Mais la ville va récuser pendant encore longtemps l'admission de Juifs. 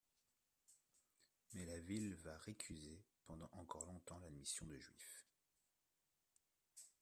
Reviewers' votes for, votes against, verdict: 2, 0, accepted